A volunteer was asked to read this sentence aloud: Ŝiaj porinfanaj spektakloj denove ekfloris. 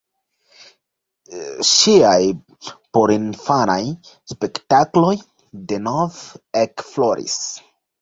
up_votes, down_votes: 2, 0